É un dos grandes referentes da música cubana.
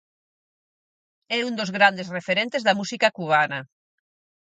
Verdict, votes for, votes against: accepted, 4, 0